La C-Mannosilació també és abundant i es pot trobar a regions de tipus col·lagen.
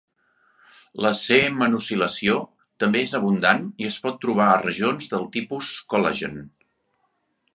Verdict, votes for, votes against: rejected, 0, 2